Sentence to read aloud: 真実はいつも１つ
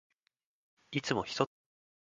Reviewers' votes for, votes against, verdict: 0, 2, rejected